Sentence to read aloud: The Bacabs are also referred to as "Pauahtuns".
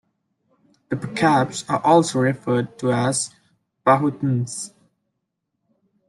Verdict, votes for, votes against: accepted, 2, 0